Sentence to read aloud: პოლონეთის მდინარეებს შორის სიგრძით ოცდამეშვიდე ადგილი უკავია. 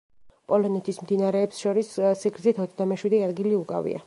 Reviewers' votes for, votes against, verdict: 1, 2, rejected